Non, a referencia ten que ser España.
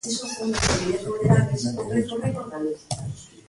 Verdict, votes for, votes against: rejected, 0, 2